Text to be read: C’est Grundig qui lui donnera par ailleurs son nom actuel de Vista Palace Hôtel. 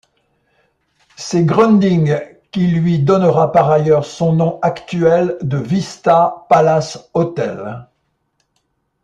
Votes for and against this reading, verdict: 2, 0, accepted